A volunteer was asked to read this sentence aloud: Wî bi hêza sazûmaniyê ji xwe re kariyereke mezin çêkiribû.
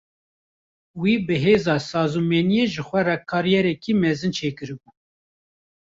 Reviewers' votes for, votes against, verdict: 1, 2, rejected